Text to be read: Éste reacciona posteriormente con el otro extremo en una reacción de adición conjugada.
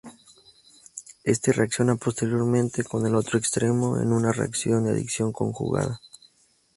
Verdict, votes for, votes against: accepted, 2, 0